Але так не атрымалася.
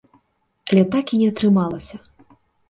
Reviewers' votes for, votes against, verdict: 1, 3, rejected